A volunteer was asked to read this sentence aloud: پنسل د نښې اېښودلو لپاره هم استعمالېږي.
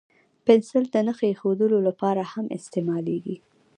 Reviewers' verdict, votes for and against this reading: accepted, 2, 0